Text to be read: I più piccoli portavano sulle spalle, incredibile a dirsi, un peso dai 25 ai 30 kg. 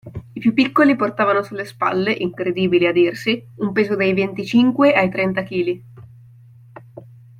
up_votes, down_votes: 0, 2